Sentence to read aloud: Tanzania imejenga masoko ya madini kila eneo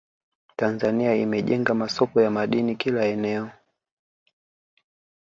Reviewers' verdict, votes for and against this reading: accepted, 2, 1